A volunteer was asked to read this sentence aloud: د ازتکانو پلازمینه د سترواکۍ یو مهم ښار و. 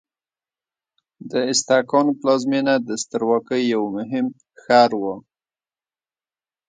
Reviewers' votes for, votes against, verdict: 2, 1, accepted